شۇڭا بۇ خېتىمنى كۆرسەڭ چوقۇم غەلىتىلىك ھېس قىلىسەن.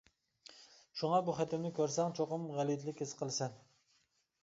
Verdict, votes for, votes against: accepted, 2, 0